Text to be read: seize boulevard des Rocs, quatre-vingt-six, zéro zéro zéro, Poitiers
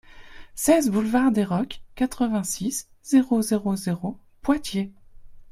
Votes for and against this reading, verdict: 2, 0, accepted